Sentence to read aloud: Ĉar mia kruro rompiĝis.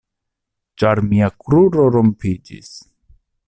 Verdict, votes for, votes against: accepted, 2, 0